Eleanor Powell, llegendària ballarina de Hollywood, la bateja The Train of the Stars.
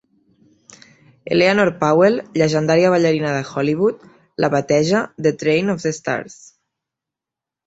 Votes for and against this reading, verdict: 3, 0, accepted